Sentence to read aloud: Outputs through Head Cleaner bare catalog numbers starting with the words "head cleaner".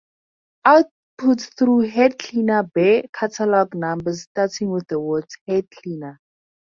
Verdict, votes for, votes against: accepted, 2, 0